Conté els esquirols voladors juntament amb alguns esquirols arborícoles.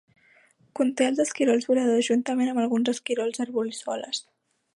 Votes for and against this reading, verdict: 0, 2, rejected